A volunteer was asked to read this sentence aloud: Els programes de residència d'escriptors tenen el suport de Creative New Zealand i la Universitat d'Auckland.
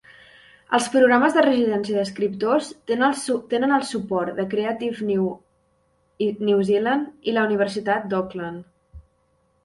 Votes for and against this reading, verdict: 0, 2, rejected